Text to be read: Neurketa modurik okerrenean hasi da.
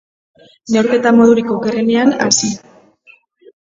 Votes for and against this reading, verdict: 1, 3, rejected